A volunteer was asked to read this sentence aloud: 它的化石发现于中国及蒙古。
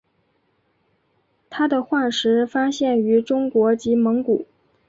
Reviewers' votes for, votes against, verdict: 3, 1, accepted